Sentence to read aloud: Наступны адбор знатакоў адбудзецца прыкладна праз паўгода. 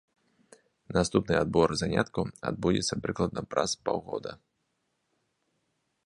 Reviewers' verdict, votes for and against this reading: rejected, 0, 3